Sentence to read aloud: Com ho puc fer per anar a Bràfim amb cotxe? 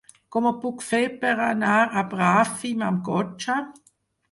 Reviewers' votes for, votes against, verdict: 4, 0, accepted